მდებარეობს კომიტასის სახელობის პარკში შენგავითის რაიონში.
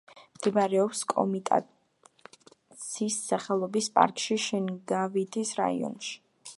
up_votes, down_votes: 1, 2